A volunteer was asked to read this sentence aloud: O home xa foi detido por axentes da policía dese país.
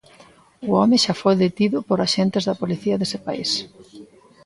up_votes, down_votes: 1, 2